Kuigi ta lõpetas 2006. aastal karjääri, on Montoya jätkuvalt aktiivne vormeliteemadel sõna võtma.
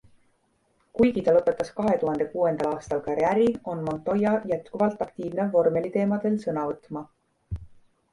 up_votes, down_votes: 0, 2